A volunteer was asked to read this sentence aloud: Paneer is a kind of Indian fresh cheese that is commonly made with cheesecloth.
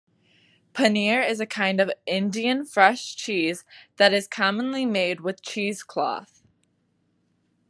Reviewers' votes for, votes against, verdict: 2, 0, accepted